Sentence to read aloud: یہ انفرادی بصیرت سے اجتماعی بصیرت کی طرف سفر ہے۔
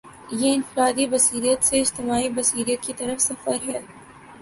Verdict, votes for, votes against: accepted, 2, 0